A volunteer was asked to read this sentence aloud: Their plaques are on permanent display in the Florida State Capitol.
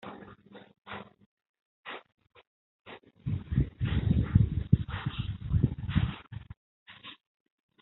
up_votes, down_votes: 0, 2